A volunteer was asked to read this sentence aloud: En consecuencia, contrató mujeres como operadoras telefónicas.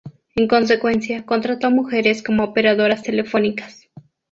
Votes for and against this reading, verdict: 2, 0, accepted